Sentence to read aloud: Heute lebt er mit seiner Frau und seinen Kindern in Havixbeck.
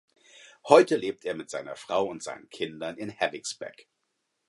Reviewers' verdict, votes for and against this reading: accepted, 4, 0